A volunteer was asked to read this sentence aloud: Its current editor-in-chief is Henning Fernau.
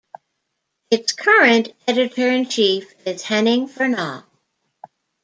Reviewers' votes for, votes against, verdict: 2, 1, accepted